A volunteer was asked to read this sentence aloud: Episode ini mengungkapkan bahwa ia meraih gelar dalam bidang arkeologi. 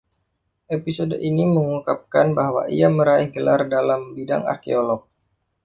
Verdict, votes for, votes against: rejected, 1, 2